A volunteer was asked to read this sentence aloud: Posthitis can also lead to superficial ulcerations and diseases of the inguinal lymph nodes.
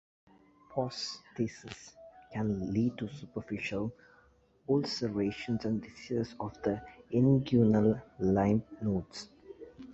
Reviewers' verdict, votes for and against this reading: rejected, 0, 2